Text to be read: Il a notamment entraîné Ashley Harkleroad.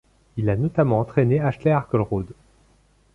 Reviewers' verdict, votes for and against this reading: accepted, 2, 0